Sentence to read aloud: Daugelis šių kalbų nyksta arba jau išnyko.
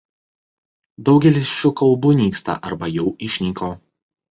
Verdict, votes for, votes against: rejected, 0, 2